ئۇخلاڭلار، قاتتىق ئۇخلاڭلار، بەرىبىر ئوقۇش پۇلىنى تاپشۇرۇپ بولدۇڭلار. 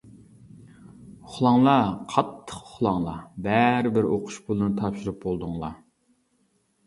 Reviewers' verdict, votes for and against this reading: accepted, 2, 0